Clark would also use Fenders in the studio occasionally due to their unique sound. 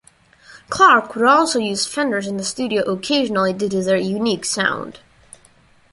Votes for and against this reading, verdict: 1, 2, rejected